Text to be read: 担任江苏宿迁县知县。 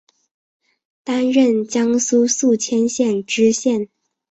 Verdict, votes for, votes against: accepted, 3, 0